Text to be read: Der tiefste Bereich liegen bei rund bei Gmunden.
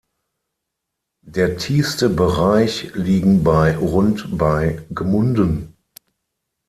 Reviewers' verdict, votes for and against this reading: accepted, 6, 3